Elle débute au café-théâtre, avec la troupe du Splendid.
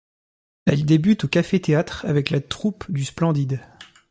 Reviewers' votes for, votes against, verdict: 2, 0, accepted